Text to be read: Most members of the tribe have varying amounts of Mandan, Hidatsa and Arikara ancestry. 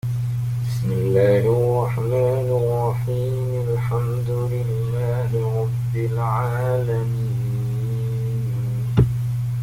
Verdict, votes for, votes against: rejected, 0, 2